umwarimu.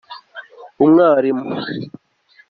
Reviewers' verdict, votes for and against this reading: accepted, 2, 0